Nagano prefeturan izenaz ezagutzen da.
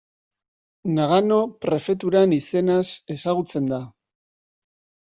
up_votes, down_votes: 2, 0